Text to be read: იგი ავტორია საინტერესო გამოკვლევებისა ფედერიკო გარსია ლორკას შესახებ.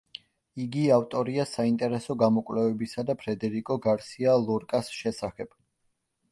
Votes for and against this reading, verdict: 1, 2, rejected